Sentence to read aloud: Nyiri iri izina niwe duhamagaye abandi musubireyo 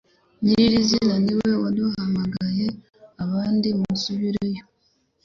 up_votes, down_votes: 0, 2